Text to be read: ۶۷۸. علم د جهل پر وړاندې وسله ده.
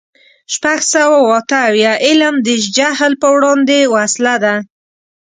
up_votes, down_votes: 0, 2